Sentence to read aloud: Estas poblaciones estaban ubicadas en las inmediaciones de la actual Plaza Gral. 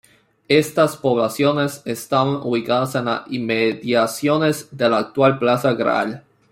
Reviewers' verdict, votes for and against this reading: rejected, 0, 2